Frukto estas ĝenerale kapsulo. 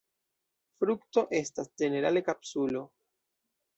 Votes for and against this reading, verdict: 2, 1, accepted